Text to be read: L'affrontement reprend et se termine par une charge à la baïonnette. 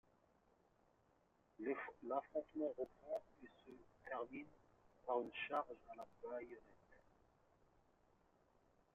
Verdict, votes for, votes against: accepted, 2, 1